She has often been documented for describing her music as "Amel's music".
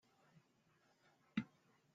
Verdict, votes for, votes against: rejected, 0, 2